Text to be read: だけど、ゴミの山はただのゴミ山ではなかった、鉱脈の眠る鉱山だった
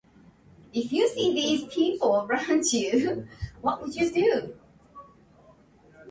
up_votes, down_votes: 1, 2